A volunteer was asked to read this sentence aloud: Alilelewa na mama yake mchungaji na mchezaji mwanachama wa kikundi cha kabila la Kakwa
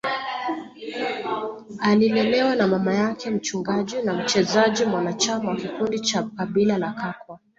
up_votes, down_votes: 2, 0